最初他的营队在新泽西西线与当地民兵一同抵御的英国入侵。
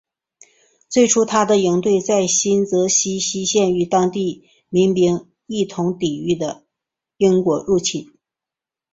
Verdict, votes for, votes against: accepted, 3, 0